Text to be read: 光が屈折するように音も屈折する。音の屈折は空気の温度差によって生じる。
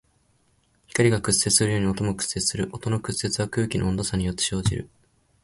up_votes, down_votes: 2, 0